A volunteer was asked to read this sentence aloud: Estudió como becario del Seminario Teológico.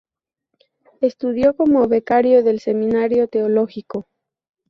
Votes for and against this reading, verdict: 8, 0, accepted